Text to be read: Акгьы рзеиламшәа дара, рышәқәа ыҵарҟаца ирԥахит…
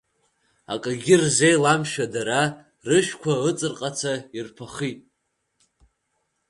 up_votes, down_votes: 1, 2